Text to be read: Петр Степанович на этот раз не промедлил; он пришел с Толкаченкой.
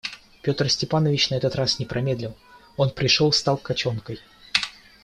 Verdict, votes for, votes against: rejected, 1, 2